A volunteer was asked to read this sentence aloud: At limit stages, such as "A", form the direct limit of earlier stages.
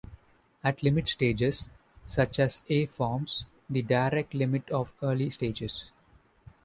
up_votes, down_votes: 0, 2